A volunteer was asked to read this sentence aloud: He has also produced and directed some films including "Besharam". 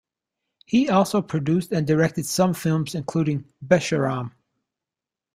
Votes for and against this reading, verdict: 1, 2, rejected